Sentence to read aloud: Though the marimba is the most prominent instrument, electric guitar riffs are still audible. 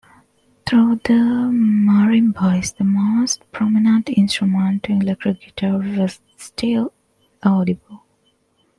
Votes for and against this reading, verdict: 0, 2, rejected